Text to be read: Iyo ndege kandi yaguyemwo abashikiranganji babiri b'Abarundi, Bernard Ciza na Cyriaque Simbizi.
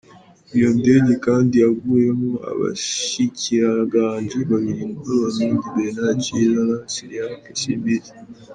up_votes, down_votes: 2, 1